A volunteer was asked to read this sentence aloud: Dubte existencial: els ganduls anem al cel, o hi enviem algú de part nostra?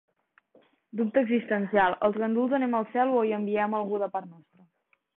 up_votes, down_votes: 5, 2